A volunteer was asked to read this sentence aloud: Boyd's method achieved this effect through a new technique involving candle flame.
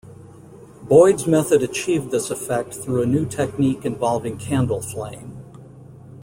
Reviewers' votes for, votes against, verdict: 2, 0, accepted